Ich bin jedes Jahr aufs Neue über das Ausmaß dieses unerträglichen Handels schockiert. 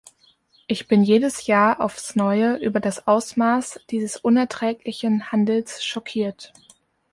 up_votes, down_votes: 1, 2